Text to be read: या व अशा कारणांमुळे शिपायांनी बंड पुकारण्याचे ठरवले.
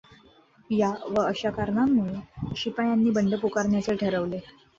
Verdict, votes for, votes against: accepted, 2, 0